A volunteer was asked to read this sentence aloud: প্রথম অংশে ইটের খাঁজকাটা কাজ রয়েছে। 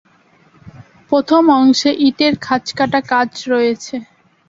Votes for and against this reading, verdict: 2, 0, accepted